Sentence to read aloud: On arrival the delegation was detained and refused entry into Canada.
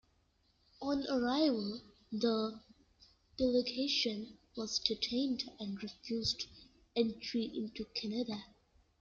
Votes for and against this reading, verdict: 2, 0, accepted